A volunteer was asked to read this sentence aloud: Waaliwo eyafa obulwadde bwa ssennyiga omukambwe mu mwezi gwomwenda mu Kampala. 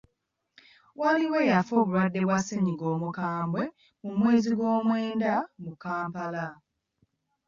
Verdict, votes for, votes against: accepted, 2, 0